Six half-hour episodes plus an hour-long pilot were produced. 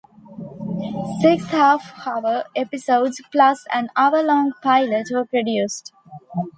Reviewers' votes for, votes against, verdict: 2, 0, accepted